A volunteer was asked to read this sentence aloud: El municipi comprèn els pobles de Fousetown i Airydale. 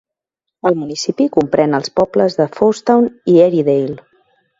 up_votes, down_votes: 3, 0